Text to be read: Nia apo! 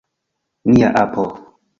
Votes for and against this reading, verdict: 2, 0, accepted